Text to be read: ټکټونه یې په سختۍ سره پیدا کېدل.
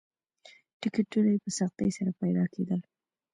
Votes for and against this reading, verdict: 1, 2, rejected